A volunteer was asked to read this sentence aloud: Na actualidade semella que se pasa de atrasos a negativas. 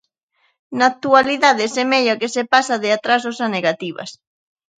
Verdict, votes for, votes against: accepted, 2, 0